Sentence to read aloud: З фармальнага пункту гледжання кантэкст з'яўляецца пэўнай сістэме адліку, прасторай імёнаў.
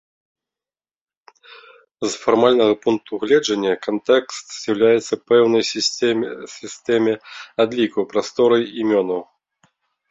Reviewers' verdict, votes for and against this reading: rejected, 0, 2